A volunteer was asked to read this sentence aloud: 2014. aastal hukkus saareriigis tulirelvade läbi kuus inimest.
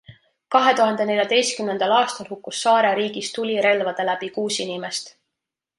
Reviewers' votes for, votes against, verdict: 0, 2, rejected